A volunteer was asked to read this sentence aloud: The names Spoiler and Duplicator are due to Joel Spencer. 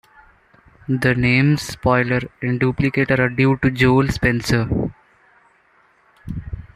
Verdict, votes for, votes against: accepted, 2, 0